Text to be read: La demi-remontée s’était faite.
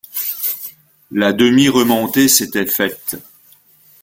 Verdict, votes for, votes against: accepted, 2, 0